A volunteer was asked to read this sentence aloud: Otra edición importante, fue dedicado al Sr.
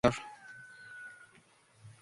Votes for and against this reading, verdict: 0, 2, rejected